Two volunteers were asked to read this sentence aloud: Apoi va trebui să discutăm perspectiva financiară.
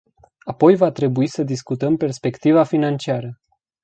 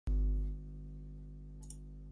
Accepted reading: first